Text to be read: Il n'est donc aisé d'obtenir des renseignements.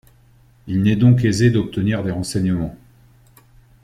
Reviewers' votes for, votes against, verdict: 2, 0, accepted